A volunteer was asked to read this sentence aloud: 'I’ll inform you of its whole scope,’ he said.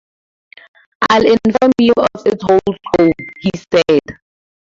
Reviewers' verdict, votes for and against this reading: accepted, 4, 0